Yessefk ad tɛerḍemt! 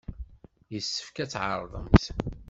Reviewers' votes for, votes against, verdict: 2, 0, accepted